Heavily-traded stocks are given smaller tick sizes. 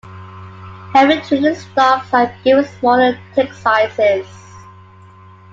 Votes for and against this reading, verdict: 2, 1, accepted